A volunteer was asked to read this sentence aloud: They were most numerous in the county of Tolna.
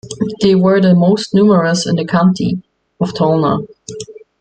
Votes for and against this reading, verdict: 1, 2, rejected